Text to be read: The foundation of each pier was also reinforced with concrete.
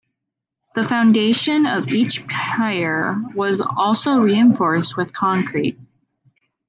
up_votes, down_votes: 0, 2